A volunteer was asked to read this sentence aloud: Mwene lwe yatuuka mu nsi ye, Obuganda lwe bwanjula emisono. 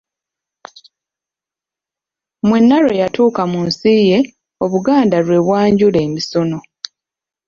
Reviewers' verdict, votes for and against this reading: rejected, 1, 2